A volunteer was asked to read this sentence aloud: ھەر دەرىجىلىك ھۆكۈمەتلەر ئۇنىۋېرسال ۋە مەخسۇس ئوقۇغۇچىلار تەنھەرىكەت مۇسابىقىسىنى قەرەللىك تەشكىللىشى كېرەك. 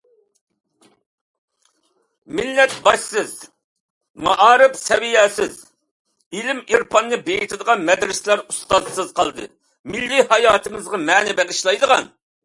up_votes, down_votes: 0, 2